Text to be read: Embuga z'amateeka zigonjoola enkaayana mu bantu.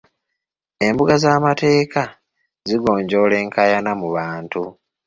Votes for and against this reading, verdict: 2, 0, accepted